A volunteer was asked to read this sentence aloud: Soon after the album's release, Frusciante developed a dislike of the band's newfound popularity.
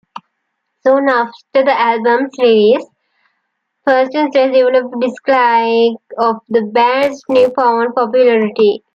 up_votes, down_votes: 0, 2